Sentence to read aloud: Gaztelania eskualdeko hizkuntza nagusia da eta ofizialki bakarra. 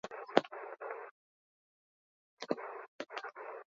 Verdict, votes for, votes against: rejected, 0, 4